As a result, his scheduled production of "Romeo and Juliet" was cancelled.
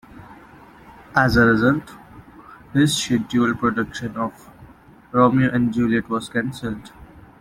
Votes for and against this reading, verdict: 2, 0, accepted